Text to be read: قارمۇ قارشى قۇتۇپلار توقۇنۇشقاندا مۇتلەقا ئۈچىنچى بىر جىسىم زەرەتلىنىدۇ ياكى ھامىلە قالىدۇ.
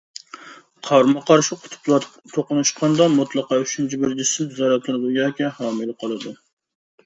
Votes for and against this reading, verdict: 0, 2, rejected